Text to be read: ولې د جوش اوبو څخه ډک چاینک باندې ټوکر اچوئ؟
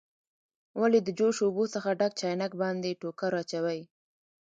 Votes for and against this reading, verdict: 1, 2, rejected